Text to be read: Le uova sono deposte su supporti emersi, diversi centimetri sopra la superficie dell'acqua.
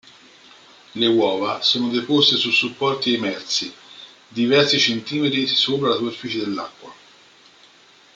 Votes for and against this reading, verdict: 0, 2, rejected